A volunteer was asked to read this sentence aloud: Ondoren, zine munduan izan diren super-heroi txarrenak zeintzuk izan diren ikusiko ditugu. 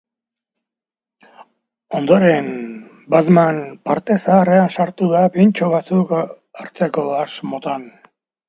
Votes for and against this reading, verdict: 0, 2, rejected